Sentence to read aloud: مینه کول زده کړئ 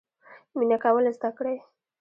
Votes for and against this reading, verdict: 2, 0, accepted